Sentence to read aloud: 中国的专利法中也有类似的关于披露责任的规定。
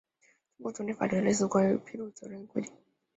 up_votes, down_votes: 0, 2